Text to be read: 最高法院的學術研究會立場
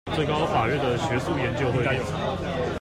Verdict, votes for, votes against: rejected, 0, 2